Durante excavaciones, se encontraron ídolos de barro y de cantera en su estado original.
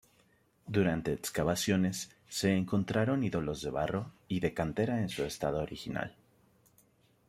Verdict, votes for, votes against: accepted, 2, 1